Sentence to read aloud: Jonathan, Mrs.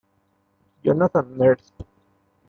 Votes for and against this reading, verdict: 1, 2, rejected